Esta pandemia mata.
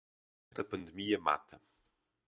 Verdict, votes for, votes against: rejected, 2, 6